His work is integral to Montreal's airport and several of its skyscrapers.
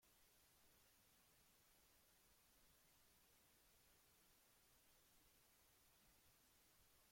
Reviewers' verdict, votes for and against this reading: rejected, 0, 2